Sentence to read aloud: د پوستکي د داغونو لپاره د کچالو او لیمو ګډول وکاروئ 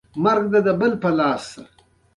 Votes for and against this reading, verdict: 0, 2, rejected